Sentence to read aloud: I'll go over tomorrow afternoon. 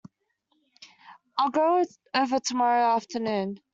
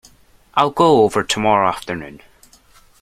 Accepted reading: second